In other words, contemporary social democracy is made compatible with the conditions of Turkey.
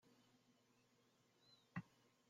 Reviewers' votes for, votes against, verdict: 0, 2, rejected